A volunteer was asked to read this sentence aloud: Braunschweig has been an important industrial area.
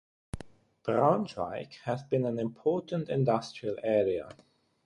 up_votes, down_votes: 0, 3